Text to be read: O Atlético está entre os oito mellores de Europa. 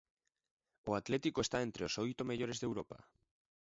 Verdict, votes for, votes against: rejected, 0, 2